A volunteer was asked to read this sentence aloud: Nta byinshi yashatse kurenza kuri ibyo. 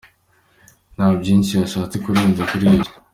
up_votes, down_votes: 2, 0